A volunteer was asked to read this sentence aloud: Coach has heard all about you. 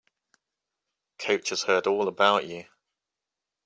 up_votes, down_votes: 2, 0